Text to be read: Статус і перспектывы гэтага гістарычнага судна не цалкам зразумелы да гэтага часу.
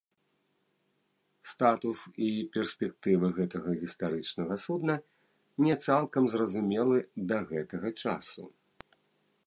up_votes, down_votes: 1, 2